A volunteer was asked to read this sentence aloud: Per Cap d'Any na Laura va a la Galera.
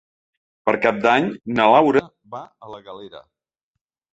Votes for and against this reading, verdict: 1, 2, rejected